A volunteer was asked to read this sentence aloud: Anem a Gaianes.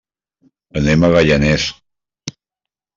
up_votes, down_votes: 0, 2